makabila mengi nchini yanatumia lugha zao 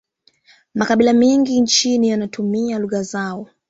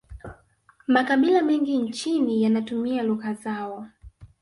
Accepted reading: first